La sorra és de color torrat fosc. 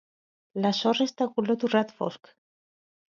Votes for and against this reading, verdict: 2, 0, accepted